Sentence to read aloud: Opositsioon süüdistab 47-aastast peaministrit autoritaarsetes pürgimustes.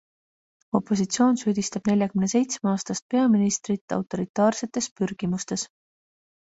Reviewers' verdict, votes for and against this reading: rejected, 0, 2